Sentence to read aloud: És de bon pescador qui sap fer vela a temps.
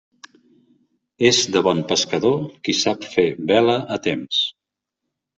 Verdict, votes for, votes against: accepted, 3, 0